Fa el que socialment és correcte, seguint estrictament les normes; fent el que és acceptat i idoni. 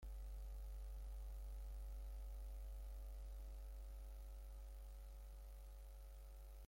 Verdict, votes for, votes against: rejected, 0, 2